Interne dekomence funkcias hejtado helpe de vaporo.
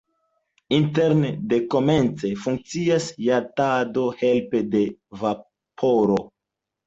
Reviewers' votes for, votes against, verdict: 1, 2, rejected